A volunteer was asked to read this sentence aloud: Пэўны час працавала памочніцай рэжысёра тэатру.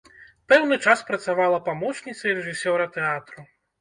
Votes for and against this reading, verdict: 2, 0, accepted